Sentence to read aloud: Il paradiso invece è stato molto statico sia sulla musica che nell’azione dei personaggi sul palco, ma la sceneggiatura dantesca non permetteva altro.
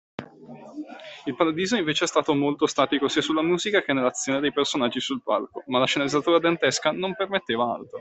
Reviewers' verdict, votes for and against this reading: accepted, 2, 1